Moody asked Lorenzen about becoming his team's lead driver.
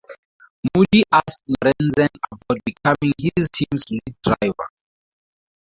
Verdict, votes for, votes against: rejected, 0, 4